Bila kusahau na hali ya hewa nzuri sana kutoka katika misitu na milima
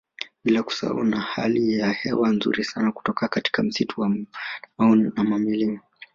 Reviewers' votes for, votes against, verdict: 1, 2, rejected